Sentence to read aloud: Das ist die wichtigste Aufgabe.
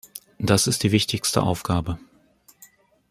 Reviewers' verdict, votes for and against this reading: accepted, 2, 0